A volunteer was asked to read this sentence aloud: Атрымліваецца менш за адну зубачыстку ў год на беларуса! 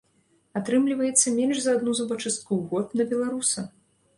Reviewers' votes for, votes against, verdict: 2, 0, accepted